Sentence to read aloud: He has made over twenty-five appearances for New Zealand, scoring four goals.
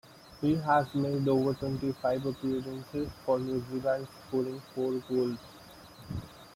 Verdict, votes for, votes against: rejected, 0, 2